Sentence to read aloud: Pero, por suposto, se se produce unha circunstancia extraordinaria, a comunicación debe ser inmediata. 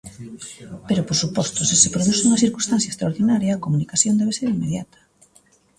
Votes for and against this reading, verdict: 2, 0, accepted